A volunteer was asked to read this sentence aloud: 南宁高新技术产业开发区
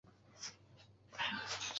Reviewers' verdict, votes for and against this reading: rejected, 0, 2